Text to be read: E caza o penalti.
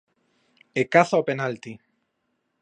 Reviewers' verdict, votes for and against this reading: accepted, 2, 0